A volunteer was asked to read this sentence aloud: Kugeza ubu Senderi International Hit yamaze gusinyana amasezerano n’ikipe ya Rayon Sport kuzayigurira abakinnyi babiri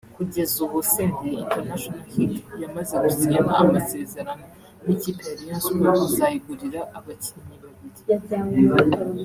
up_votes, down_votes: 2, 0